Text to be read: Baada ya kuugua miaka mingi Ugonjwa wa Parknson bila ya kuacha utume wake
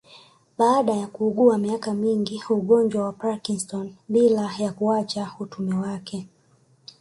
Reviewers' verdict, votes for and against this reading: accepted, 2, 0